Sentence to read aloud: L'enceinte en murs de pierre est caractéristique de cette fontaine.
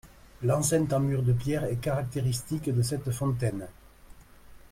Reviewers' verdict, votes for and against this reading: accepted, 2, 0